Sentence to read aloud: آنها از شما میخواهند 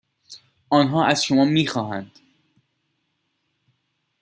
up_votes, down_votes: 2, 0